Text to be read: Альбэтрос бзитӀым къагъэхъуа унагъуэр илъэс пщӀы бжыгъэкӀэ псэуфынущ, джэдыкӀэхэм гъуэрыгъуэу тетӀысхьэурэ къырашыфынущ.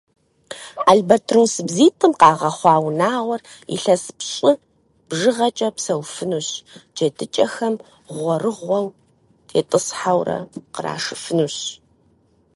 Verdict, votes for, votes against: accepted, 4, 0